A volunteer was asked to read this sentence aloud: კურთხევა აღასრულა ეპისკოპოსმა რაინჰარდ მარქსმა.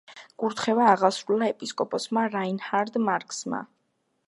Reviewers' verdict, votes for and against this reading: accepted, 2, 0